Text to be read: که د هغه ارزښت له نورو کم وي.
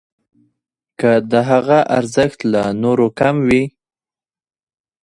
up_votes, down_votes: 2, 0